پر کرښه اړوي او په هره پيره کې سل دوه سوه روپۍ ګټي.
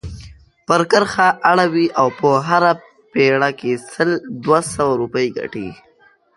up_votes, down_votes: 1, 2